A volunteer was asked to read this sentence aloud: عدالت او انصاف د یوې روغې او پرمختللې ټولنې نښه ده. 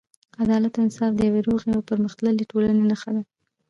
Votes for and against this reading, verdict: 1, 2, rejected